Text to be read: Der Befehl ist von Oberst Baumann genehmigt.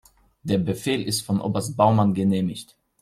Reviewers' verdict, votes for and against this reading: accepted, 2, 0